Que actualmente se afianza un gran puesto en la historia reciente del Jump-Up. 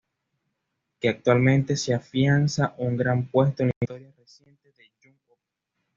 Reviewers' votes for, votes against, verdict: 1, 2, rejected